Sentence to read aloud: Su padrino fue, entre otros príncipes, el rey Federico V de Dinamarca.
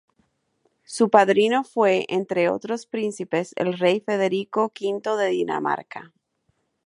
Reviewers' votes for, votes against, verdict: 0, 2, rejected